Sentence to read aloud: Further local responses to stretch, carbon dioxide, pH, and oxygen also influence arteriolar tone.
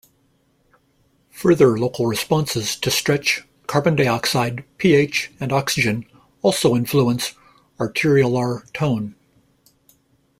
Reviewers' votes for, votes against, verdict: 2, 0, accepted